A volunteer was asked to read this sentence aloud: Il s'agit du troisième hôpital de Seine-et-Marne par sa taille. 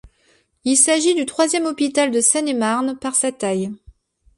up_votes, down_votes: 2, 0